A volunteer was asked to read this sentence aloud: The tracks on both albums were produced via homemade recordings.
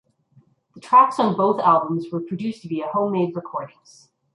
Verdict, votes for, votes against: accepted, 2, 0